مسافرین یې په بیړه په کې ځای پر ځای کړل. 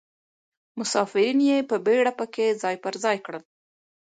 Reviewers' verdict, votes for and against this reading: accepted, 2, 0